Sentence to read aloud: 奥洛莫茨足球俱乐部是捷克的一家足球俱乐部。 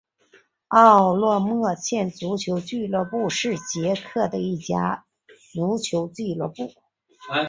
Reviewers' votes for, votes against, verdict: 0, 2, rejected